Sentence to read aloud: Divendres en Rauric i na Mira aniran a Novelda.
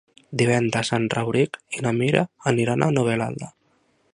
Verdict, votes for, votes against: rejected, 0, 2